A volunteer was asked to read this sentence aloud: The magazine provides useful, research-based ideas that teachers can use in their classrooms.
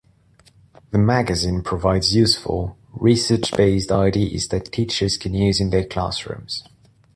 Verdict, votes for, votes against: rejected, 1, 2